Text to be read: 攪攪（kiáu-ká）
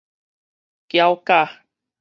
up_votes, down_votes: 4, 0